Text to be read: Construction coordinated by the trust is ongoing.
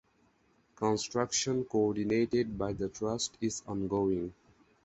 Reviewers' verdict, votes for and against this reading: accepted, 4, 0